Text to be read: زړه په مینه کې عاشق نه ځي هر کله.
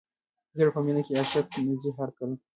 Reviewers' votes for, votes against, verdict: 2, 0, accepted